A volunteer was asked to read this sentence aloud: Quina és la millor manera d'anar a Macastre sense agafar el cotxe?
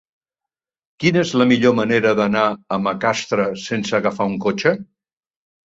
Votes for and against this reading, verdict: 1, 2, rejected